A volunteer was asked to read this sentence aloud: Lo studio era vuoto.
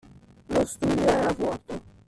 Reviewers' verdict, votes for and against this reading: rejected, 1, 2